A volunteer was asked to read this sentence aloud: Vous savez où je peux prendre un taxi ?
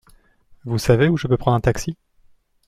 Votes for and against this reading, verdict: 2, 0, accepted